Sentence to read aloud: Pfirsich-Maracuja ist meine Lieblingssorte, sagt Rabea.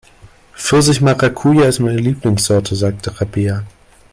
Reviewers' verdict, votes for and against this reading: rejected, 0, 2